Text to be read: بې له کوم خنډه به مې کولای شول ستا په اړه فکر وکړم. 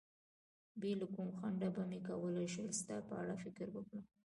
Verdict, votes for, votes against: rejected, 1, 2